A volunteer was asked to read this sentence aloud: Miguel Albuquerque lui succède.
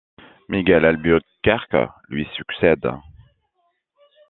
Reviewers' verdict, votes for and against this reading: rejected, 1, 2